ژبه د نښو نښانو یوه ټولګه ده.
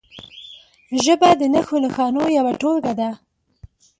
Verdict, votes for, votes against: accepted, 2, 0